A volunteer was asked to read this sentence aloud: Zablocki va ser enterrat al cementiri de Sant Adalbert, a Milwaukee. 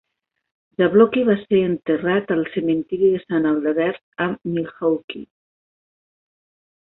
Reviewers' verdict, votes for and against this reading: accepted, 2, 1